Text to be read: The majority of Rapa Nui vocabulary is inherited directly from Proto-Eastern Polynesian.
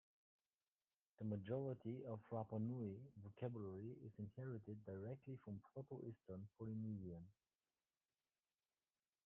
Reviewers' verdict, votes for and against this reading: rejected, 1, 2